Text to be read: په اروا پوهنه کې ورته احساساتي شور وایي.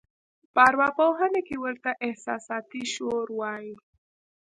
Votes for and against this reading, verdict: 1, 2, rejected